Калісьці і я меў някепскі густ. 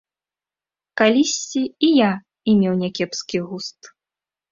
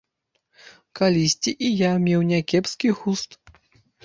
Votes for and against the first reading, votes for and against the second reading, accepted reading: 0, 2, 2, 0, second